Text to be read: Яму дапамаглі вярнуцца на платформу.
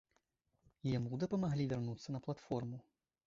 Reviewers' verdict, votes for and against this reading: rejected, 1, 2